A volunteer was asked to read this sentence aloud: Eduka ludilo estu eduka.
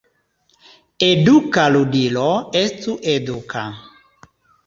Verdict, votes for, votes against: accepted, 2, 0